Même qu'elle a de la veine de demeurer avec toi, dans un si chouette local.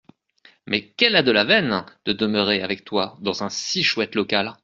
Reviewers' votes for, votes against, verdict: 0, 2, rejected